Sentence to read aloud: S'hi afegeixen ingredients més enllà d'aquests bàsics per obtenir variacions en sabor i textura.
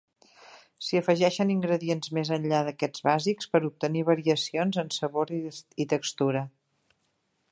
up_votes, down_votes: 3, 1